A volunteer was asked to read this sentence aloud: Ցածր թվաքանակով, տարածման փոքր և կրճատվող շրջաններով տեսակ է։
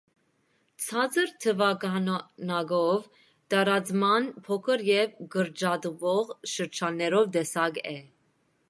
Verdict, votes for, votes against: rejected, 0, 2